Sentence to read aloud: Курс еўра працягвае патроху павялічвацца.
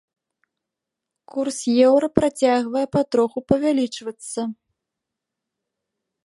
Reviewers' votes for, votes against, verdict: 2, 0, accepted